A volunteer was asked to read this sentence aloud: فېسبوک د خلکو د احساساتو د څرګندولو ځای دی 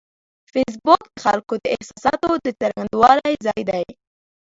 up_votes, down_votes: 2, 1